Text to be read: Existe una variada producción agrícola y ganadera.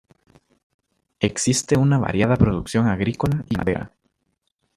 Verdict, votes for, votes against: rejected, 1, 2